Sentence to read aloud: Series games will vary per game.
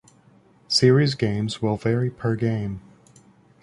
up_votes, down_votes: 2, 0